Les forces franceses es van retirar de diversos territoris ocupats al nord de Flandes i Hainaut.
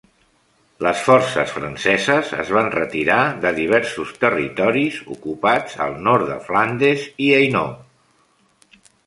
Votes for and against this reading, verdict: 0, 2, rejected